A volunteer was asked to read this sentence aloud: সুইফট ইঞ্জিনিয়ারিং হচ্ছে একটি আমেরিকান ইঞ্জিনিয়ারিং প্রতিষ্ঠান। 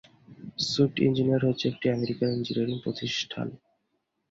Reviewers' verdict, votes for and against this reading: rejected, 2, 2